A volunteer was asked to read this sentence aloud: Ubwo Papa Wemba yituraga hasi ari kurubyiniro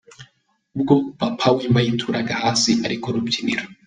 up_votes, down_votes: 2, 0